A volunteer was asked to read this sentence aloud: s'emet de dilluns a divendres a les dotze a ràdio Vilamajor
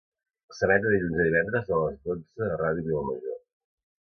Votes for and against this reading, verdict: 0, 2, rejected